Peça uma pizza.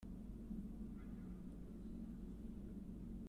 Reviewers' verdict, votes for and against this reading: rejected, 0, 2